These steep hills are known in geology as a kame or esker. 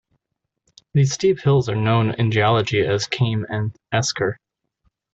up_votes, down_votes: 0, 2